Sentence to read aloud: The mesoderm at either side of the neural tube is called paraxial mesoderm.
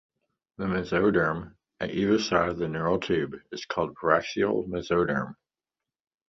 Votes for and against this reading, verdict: 1, 2, rejected